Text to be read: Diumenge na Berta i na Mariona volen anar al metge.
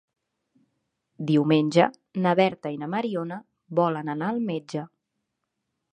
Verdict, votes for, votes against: accepted, 3, 0